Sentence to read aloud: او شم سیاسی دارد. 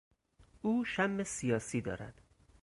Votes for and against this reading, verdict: 4, 0, accepted